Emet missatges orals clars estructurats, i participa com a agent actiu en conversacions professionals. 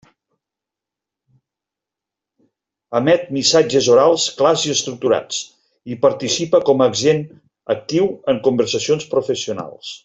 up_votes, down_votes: 0, 2